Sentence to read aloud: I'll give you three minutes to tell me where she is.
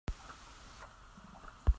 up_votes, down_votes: 0, 3